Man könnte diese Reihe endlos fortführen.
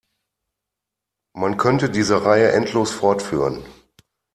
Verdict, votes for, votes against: accepted, 2, 0